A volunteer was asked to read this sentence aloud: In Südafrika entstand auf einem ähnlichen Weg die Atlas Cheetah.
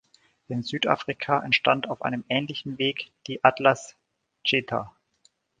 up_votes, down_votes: 3, 2